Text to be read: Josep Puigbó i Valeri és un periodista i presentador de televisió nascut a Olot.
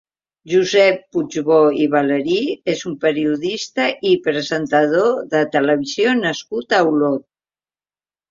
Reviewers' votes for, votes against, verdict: 2, 0, accepted